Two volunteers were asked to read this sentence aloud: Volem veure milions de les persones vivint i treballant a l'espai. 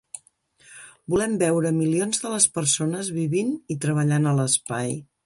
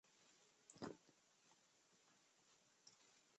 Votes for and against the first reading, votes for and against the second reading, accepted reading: 3, 0, 0, 2, first